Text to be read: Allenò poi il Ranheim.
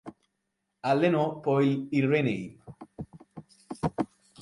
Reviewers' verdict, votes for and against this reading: rejected, 1, 2